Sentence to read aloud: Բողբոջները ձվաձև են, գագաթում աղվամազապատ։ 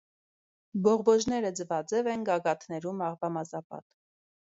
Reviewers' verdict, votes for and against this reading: rejected, 2, 3